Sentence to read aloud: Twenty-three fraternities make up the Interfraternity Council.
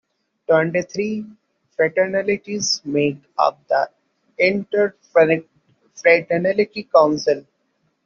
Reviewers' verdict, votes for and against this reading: accepted, 2, 0